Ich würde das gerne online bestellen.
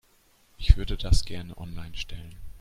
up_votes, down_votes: 1, 2